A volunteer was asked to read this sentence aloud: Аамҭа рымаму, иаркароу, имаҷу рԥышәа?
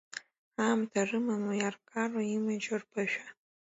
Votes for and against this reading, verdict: 2, 1, accepted